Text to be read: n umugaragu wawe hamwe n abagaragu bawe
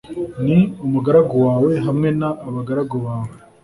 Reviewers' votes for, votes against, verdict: 2, 0, accepted